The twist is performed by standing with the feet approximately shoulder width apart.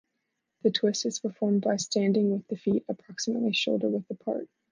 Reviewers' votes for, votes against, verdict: 2, 0, accepted